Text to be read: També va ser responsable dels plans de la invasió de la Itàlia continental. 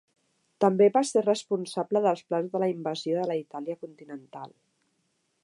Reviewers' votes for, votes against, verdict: 2, 0, accepted